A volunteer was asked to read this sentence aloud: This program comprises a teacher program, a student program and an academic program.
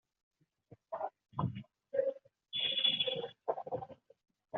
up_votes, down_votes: 0, 2